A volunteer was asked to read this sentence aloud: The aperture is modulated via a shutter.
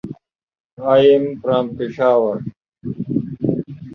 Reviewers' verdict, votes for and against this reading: rejected, 0, 2